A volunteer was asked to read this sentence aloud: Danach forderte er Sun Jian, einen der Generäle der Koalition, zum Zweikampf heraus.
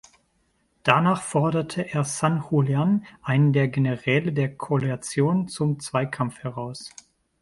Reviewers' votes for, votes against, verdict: 2, 3, rejected